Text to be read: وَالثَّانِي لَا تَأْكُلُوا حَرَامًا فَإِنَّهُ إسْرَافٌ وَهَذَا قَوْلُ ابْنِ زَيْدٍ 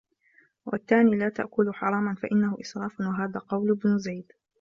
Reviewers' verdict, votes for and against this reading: accepted, 2, 0